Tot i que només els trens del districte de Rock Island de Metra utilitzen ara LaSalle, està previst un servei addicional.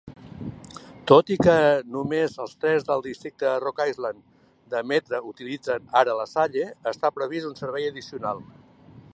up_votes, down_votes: 2, 0